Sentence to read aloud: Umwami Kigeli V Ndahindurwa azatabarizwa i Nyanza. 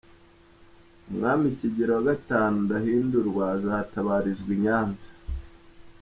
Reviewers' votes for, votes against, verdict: 2, 0, accepted